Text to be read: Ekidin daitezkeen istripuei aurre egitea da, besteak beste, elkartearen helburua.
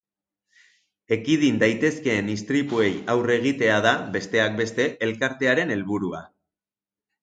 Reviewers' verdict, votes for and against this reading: accepted, 3, 0